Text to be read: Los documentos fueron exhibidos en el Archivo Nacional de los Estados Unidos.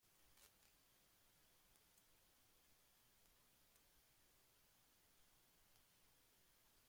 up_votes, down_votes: 0, 2